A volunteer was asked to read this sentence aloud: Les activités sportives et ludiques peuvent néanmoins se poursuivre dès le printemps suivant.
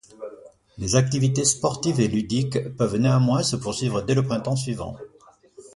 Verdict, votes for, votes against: accepted, 2, 0